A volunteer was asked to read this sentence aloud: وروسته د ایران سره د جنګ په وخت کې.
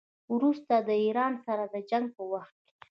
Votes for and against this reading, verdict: 2, 0, accepted